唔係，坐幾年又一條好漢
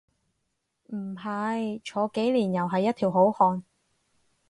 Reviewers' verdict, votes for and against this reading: rejected, 0, 4